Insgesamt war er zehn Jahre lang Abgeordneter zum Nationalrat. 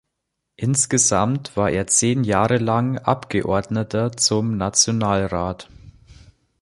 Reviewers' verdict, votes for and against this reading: accepted, 2, 0